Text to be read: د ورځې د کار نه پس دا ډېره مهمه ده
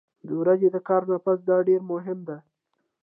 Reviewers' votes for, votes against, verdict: 2, 0, accepted